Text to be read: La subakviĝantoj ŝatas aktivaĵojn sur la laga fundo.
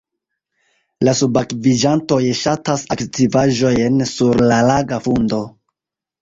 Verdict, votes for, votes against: accepted, 2, 0